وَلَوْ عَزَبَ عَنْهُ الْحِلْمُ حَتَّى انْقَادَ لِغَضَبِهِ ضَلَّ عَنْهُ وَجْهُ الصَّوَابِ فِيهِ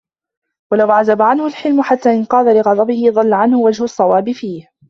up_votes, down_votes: 2, 0